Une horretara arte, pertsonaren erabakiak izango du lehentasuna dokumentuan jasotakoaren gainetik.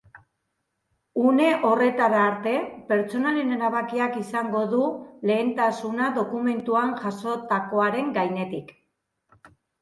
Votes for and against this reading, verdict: 2, 0, accepted